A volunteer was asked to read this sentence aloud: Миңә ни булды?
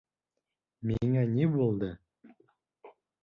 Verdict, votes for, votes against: accepted, 3, 0